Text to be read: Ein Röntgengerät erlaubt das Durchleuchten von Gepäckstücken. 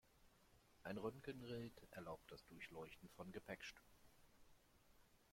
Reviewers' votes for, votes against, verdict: 0, 2, rejected